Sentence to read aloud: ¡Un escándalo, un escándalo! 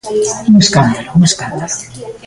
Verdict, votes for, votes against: rejected, 1, 2